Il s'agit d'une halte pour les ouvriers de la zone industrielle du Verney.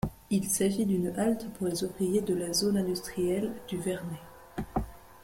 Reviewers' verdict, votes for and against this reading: accepted, 2, 0